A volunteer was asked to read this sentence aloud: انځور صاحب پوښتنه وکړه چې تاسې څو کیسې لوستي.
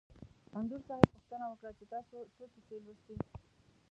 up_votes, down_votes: 1, 2